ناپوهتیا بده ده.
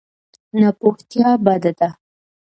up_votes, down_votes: 2, 0